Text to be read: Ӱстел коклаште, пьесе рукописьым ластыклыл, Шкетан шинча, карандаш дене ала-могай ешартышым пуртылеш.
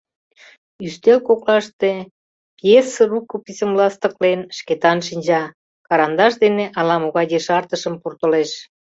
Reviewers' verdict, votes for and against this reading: rejected, 0, 2